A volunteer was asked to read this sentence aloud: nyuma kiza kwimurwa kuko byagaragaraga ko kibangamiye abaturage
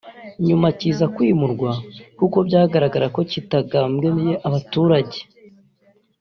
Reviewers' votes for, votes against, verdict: 0, 2, rejected